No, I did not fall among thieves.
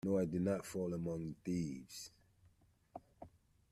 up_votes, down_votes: 1, 2